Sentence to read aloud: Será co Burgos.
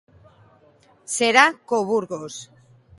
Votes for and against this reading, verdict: 2, 0, accepted